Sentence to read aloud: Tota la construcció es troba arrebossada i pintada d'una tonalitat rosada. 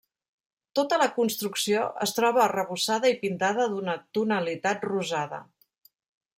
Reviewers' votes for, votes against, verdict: 3, 1, accepted